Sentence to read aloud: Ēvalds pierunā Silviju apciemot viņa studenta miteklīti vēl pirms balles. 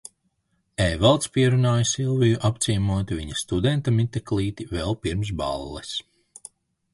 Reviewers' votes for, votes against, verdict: 2, 3, rejected